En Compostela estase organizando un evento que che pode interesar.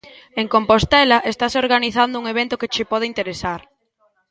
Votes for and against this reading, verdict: 2, 0, accepted